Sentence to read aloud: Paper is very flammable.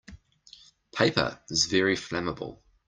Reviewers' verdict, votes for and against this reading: accepted, 2, 0